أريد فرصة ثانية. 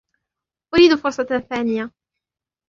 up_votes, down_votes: 2, 1